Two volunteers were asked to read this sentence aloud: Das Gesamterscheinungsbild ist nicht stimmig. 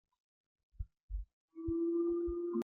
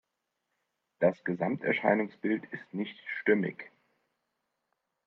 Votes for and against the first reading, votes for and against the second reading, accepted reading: 0, 3, 3, 0, second